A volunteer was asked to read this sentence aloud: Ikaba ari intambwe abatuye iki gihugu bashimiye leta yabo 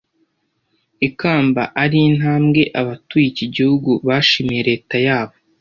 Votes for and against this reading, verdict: 0, 2, rejected